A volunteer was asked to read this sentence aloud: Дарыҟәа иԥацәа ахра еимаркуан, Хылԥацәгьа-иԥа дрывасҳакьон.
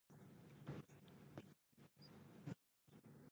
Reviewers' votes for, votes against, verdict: 0, 2, rejected